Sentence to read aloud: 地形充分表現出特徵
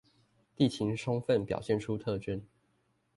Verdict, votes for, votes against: accepted, 2, 1